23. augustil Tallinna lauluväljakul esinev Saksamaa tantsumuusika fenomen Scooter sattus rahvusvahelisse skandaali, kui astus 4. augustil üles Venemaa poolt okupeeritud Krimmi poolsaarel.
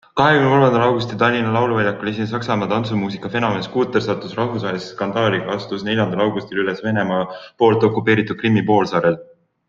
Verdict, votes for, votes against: rejected, 0, 2